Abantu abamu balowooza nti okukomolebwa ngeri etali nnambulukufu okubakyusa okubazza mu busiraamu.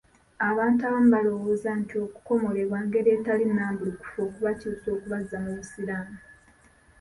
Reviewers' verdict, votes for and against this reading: accepted, 2, 0